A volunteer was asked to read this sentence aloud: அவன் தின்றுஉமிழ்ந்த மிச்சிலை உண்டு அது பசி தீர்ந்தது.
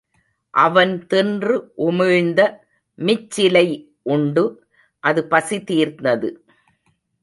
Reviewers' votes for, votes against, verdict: 1, 2, rejected